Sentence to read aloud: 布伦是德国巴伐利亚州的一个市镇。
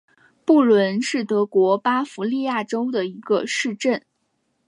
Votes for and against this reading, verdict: 2, 0, accepted